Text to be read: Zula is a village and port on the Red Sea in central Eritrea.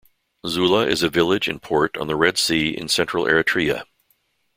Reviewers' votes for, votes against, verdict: 2, 0, accepted